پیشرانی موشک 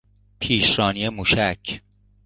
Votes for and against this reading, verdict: 3, 0, accepted